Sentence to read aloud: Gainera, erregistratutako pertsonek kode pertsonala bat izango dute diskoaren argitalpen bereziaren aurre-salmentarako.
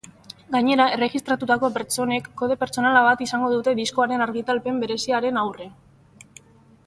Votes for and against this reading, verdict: 1, 2, rejected